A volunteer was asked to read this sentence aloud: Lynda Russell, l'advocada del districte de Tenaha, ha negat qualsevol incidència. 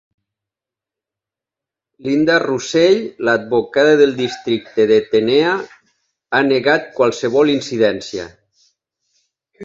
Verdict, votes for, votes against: rejected, 0, 3